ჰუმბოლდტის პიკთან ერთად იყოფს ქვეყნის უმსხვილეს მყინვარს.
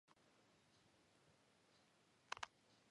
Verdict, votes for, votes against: rejected, 1, 2